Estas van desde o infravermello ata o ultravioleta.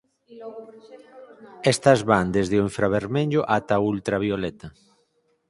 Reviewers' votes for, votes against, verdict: 4, 0, accepted